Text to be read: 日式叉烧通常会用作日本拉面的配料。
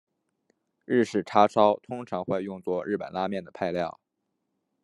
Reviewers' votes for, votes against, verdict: 2, 0, accepted